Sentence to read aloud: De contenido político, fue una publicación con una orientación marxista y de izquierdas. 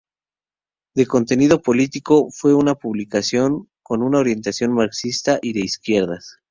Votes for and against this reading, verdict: 0, 2, rejected